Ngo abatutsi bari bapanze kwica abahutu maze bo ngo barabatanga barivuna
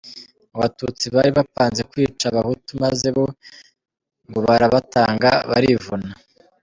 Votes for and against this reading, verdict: 4, 0, accepted